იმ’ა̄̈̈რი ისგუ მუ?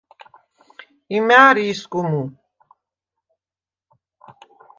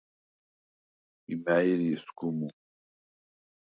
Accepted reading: first